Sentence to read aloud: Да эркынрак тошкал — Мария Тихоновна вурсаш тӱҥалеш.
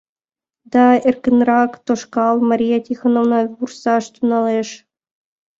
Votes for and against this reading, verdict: 2, 0, accepted